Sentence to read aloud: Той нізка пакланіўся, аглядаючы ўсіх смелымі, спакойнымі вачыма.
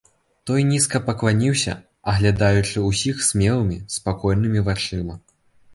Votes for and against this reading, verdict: 3, 0, accepted